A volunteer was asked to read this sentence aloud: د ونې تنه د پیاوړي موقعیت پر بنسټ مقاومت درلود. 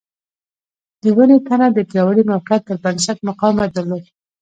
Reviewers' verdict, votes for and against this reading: accepted, 2, 1